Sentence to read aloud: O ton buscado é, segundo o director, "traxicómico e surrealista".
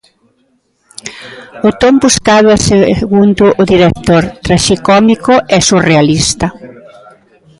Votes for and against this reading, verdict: 2, 0, accepted